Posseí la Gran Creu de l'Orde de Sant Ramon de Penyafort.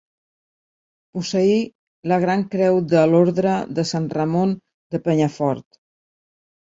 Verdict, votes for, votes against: accepted, 2, 1